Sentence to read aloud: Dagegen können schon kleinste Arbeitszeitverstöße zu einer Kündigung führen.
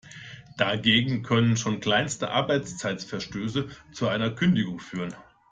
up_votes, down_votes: 2, 0